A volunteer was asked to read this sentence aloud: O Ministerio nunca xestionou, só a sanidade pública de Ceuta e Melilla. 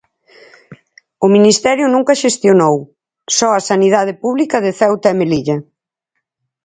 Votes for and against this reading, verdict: 4, 0, accepted